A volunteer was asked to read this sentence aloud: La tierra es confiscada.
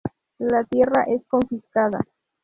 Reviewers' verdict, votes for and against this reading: rejected, 0, 2